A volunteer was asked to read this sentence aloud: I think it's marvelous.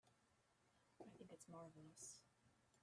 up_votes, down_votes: 0, 2